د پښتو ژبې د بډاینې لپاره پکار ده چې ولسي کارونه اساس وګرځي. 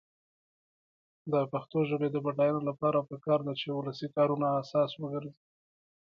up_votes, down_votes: 2, 1